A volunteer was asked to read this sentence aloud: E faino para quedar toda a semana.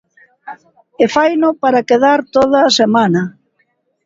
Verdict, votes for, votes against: accepted, 2, 0